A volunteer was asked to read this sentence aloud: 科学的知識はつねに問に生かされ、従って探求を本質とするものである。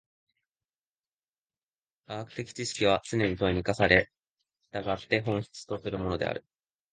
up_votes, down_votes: 1, 2